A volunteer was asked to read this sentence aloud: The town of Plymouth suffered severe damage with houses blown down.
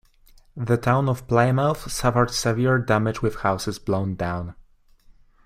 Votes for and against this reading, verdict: 2, 0, accepted